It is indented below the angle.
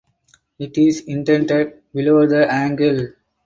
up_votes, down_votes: 4, 0